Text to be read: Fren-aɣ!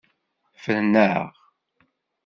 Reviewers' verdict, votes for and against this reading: accepted, 2, 0